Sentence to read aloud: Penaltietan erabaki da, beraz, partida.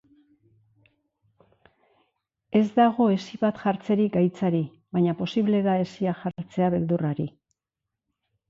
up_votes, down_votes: 0, 3